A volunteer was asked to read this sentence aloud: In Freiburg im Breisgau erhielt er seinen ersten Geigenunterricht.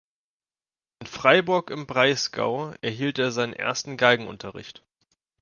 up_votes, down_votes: 1, 2